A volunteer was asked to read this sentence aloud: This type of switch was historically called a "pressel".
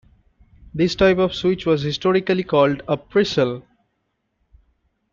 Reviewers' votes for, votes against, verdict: 2, 0, accepted